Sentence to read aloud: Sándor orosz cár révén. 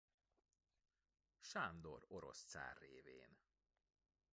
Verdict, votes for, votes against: rejected, 1, 2